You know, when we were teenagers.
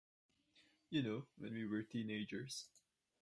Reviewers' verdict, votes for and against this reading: accepted, 4, 0